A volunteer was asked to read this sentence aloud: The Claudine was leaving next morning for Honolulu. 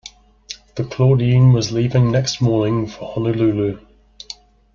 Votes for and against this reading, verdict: 2, 0, accepted